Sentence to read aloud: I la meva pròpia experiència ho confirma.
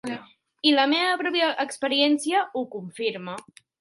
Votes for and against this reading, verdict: 2, 1, accepted